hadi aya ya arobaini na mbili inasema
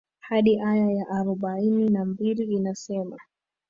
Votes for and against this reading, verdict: 2, 1, accepted